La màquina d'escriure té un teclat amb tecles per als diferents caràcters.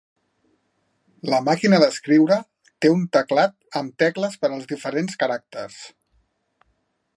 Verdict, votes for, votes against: accepted, 4, 0